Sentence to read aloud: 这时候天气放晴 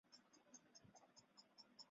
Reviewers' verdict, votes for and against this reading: rejected, 1, 2